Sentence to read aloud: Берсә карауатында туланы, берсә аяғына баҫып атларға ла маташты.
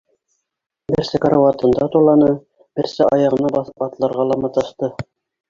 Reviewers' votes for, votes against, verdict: 1, 2, rejected